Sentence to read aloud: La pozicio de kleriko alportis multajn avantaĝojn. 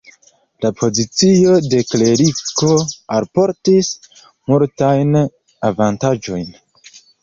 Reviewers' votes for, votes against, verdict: 1, 2, rejected